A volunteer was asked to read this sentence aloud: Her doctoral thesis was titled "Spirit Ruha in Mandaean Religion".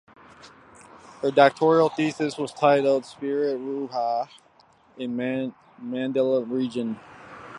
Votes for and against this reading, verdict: 2, 1, accepted